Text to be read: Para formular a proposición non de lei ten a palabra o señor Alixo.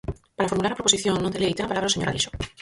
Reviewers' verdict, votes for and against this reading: rejected, 0, 4